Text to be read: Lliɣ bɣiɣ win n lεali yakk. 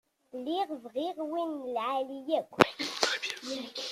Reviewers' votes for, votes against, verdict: 0, 2, rejected